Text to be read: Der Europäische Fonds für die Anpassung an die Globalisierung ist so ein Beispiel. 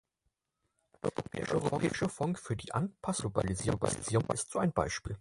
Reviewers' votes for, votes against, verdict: 0, 4, rejected